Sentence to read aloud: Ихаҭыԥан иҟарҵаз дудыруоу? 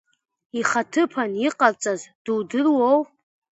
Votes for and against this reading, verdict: 2, 0, accepted